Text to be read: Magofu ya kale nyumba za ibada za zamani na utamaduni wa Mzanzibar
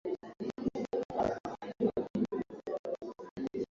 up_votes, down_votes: 0, 2